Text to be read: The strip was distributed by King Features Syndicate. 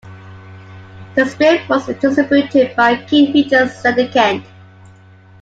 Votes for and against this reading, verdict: 2, 1, accepted